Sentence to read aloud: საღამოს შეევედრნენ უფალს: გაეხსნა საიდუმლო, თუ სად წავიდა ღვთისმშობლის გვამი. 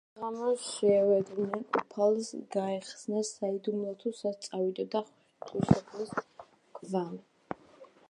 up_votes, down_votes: 0, 2